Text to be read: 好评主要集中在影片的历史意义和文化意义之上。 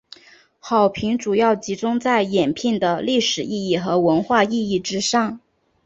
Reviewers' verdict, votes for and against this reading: rejected, 1, 2